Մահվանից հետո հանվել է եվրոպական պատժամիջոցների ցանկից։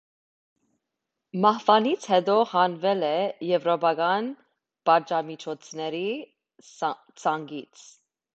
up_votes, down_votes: 1, 2